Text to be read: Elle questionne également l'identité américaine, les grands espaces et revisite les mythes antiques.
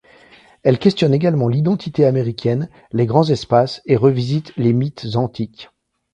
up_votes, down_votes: 2, 0